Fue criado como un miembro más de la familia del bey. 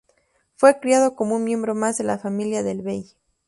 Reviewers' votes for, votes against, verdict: 2, 0, accepted